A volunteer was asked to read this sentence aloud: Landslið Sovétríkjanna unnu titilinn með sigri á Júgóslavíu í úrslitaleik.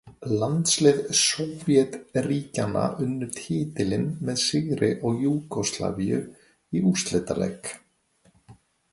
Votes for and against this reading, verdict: 1, 2, rejected